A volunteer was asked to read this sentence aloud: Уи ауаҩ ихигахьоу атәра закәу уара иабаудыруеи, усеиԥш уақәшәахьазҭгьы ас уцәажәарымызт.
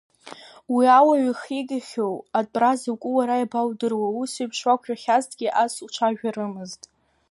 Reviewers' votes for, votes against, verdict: 2, 1, accepted